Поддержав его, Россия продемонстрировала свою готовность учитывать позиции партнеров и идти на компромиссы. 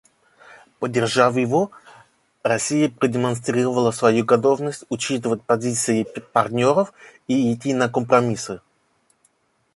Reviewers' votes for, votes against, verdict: 2, 0, accepted